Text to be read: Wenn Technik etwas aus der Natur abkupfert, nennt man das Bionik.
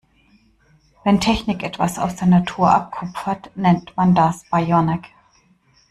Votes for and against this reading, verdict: 1, 2, rejected